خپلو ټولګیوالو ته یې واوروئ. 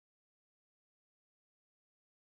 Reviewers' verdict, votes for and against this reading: rejected, 1, 2